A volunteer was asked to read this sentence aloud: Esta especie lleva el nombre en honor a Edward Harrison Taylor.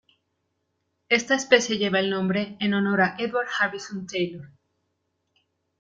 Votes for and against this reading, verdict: 2, 0, accepted